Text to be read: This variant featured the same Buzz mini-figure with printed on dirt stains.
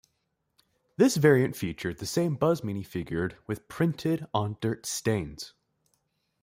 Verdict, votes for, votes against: rejected, 1, 2